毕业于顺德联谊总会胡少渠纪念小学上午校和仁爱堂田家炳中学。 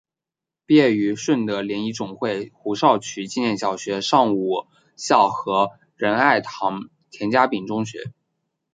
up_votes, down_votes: 3, 1